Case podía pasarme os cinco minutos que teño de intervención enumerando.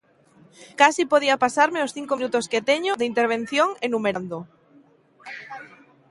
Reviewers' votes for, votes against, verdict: 2, 0, accepted